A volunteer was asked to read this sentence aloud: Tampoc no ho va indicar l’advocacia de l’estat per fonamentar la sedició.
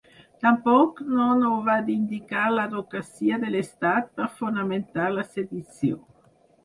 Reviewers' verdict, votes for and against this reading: rejected, 2, 4